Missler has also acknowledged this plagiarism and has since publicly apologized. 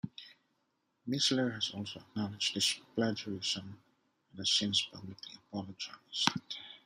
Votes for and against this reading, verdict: 1, 2, rejected